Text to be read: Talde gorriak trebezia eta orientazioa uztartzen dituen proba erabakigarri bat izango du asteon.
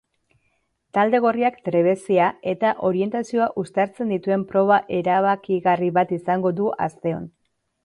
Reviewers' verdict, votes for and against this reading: accepted, 2, 0